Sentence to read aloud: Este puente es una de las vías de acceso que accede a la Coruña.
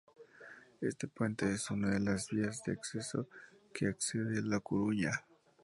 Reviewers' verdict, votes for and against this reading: accepted, 2, 0